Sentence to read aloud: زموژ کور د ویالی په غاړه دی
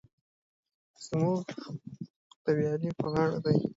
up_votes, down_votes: 1, 2